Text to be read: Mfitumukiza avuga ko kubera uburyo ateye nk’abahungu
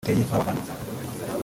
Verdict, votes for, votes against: rejected, 1, 2